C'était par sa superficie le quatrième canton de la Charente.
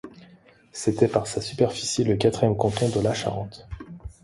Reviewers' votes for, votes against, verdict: 2, 0, accepted